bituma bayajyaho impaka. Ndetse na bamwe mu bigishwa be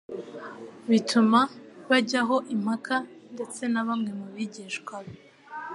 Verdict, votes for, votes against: accepted, 2, 0